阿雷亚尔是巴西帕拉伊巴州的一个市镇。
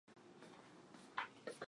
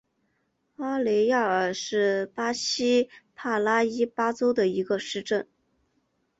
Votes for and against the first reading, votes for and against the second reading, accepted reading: 0, 3, 3, 0, second